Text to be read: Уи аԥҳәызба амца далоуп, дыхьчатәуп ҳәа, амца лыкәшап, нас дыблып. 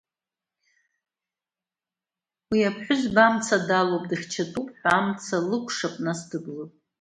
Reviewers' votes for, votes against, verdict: 2, 1, accepted